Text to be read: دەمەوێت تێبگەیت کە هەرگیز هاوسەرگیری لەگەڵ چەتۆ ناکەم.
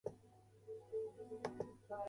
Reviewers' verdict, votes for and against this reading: rejected, 0, 2